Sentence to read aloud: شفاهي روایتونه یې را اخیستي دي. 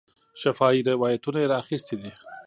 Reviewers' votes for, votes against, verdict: 1, 2, rejected